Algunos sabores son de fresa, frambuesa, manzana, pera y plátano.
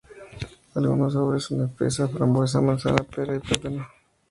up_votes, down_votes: 4, 0